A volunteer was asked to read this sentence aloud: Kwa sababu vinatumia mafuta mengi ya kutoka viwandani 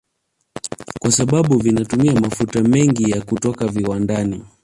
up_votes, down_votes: 1, 2